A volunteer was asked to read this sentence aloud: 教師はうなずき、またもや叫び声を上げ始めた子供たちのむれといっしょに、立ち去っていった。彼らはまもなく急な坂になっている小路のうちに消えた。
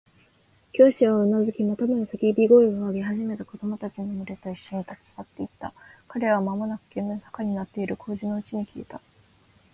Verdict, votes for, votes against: accepted, 2, 1